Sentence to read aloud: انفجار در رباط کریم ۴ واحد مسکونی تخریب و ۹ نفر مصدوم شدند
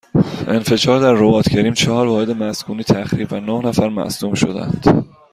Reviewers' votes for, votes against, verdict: 0, 2, rejected